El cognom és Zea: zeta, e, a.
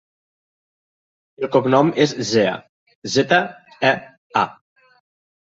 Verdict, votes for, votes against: accepted, 2, 1